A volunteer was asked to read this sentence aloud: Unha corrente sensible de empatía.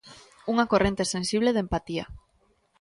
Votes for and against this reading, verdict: 3, 0, accepted